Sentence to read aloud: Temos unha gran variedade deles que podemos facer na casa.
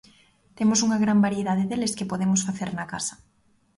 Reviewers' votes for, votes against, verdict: 2, 0, accepted